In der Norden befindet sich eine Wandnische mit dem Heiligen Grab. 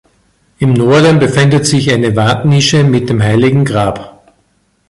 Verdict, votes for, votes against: rejected, 1, 2